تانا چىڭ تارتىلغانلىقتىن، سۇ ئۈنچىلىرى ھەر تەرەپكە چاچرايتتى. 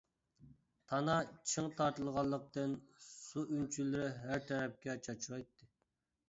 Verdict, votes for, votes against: rejected, 1, 2